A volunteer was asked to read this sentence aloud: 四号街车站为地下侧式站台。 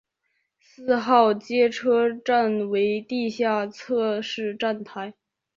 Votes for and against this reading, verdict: 6, 0, accepted